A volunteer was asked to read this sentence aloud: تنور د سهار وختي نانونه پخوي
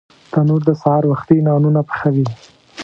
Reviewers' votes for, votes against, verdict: 1, 2, rejected